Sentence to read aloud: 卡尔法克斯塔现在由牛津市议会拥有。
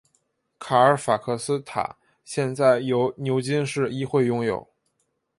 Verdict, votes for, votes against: accepted, 3, 1